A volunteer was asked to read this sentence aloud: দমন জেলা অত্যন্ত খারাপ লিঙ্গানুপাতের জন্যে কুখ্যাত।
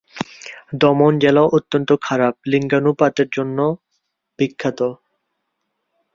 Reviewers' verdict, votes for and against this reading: rejected, 0, 2